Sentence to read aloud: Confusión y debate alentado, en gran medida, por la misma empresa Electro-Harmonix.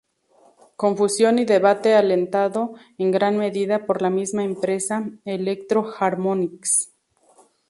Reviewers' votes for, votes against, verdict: 0, 2, rejected